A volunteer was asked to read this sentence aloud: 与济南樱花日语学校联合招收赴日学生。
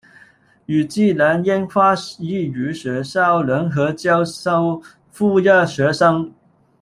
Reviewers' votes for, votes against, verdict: 1, 2, rejected